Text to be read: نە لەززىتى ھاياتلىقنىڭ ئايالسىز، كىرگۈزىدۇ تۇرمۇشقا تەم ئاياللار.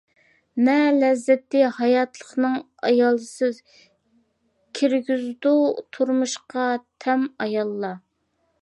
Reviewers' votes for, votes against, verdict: 2, 0, accepted